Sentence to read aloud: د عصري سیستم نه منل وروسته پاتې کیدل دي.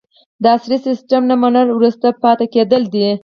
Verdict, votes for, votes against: rejected, 2, 4